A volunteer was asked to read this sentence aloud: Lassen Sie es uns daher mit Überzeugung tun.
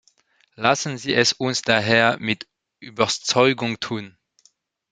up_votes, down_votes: 1, 2